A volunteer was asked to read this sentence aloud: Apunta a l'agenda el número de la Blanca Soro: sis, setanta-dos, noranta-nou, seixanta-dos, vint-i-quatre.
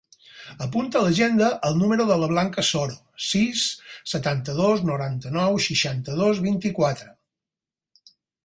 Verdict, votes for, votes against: accepted, 6, 0